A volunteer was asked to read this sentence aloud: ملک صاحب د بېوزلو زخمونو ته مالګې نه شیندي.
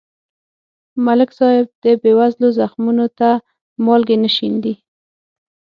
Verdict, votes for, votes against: accepted, 6, 0